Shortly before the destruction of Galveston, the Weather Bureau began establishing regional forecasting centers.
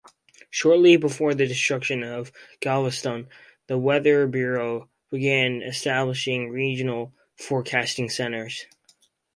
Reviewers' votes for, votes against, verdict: 2, 0, accepted